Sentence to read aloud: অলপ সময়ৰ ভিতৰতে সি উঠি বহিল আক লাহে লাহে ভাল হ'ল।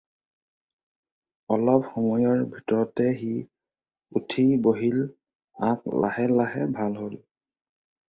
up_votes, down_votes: 2, 0